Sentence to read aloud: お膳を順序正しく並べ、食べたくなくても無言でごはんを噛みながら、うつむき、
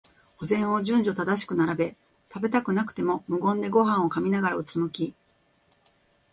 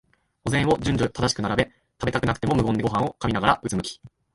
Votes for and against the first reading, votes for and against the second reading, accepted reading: 2, 0, 5, 6, first